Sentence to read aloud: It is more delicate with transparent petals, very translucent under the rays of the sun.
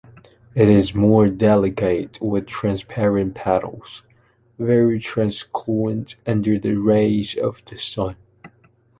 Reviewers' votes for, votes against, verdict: 1, 2, rejected